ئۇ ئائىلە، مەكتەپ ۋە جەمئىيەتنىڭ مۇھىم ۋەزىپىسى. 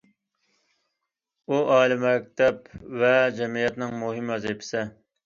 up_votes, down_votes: 2, 0